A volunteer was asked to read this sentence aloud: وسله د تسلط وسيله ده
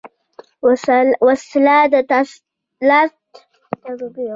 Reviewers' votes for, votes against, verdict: 1, 2, rejected